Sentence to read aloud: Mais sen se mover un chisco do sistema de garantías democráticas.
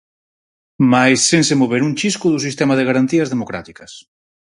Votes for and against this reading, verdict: 4, 0, accepted